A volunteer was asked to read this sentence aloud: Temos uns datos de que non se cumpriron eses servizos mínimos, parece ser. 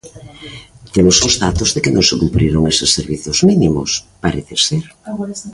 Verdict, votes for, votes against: rejected, 1, 2